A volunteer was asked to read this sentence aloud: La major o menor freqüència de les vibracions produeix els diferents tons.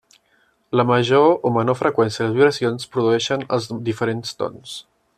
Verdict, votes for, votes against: rejected, 0, 2